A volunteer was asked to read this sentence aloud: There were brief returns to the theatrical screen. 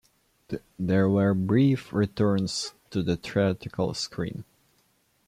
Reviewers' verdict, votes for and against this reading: rejected, 0, 2